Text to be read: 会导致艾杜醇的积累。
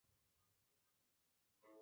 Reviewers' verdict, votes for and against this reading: rejected, 1, 2